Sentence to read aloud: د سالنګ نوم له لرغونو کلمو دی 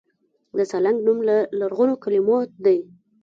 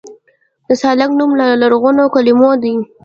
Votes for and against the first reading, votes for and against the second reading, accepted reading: 2, 1, 1, 2, first